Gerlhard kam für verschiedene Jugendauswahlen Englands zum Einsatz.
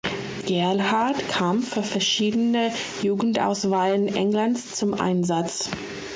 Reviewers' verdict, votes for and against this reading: accepted, 2, 0